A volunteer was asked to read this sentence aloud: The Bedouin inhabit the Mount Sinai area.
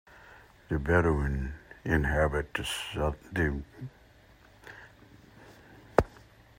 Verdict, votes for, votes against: rejected, 0, 2